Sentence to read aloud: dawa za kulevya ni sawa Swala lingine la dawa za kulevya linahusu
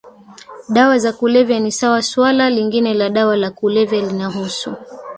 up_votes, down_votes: 1, 2